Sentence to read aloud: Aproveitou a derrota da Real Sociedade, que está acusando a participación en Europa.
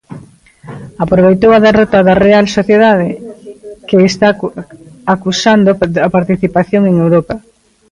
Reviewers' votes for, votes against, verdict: 1, 3, rejected